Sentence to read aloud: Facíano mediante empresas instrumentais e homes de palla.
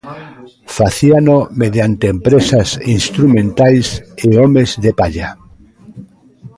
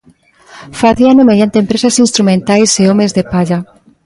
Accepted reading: second